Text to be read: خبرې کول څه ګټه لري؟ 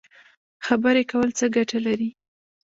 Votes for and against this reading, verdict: 1, 2, rejected